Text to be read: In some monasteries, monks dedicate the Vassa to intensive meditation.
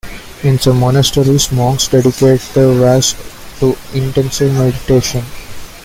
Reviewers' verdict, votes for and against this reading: rejected, 0, 2